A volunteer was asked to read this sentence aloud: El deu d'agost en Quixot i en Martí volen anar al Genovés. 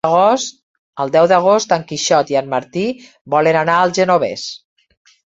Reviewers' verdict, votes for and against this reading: rejected, 1, 3